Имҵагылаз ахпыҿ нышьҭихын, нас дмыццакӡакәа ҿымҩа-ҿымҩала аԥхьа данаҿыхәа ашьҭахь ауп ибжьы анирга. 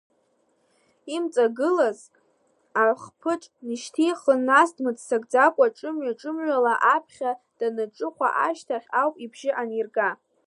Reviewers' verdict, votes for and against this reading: rejected, 1, 2